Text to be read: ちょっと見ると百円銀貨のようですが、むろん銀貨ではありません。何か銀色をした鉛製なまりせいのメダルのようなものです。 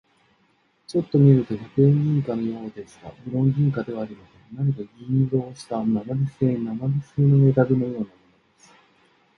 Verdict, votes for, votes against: rejected, 0, 2